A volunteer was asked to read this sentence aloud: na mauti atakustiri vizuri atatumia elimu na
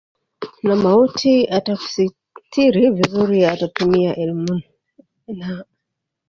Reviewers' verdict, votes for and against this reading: rejected, 1, 2